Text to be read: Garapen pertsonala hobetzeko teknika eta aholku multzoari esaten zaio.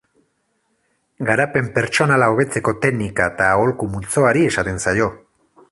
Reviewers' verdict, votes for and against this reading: accepted, 4, 0